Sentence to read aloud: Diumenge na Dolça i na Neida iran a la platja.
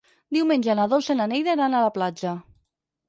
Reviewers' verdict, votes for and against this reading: accepted, 4, 0